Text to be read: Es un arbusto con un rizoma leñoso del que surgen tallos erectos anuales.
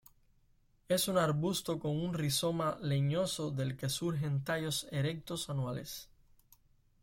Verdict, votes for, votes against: accepted, 2, 0